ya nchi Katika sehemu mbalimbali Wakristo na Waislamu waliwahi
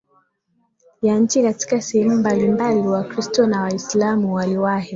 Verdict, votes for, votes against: accepted, 6, 4